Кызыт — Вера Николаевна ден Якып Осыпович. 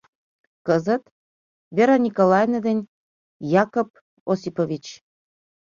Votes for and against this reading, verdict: 0, 2, rejected